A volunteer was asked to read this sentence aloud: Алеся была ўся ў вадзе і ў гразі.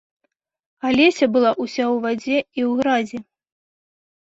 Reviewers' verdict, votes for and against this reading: accepted, 2, 0